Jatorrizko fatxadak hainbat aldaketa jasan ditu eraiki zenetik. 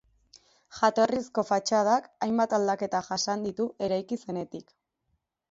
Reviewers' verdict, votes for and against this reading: accepted, 2, 0